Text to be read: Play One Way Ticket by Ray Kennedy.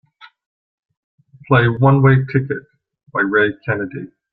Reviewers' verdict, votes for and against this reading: accepted, 2, 0